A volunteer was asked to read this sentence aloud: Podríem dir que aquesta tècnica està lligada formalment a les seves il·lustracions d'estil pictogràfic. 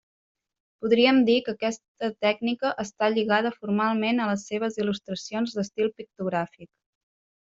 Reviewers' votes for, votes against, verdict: 0, 2, rejected